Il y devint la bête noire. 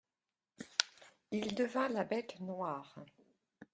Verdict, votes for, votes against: rejected, 1, 2